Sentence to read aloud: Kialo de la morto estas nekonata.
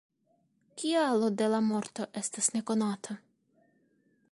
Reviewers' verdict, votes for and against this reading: accepted, 2, 1